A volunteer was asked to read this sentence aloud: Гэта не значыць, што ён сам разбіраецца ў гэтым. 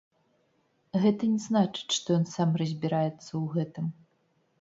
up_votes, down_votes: 1, 2